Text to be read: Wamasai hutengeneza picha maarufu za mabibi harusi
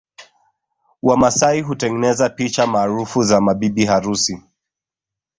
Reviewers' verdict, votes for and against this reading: rejected, 0, 2